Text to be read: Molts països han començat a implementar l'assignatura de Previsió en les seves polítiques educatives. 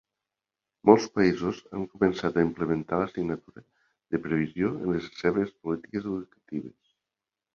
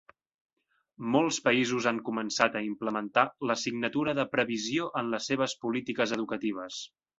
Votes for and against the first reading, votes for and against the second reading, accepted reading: 0, 2, 2, 0, second